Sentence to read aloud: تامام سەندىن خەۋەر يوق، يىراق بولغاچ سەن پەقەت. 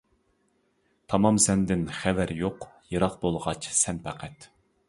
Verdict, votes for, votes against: accepted, 2, 0